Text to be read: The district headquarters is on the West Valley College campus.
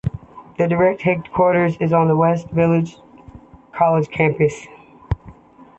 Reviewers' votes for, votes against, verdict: 1, 2, rejected